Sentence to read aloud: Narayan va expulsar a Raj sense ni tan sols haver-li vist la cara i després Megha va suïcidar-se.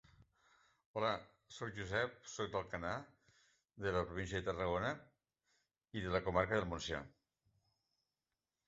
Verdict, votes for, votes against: rejected, 0, 3